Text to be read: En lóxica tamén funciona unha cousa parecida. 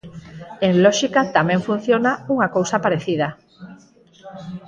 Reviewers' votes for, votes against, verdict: 2, 4, rejected